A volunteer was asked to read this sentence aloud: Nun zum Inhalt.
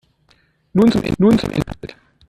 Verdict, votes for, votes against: rejected, 1, 2